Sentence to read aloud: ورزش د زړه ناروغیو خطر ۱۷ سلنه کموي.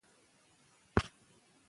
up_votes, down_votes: 0, 2